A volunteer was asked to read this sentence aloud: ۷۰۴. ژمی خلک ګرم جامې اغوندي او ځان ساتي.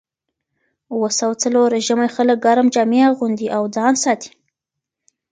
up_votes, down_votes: 0, 2